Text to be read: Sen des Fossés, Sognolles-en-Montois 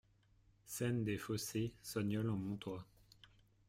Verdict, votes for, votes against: rejected, 1, 2